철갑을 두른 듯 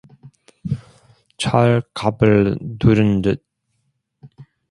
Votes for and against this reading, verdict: 2, 0, accepted